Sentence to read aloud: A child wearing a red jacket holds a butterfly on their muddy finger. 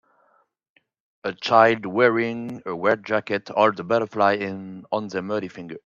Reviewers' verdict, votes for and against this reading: rejected, 2, 5